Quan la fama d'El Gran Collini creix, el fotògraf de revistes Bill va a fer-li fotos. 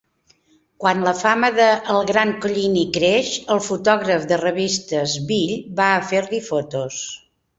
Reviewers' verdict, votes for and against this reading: rejected, 0, 2